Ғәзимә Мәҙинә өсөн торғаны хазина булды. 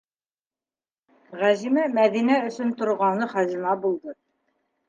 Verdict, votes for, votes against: accepted, 2, 1